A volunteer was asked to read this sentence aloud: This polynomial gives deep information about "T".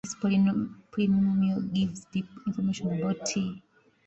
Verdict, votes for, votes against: rejected, 0, 2